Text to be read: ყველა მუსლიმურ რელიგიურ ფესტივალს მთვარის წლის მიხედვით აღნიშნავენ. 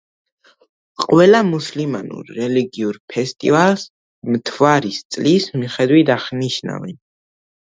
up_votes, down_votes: 1, 2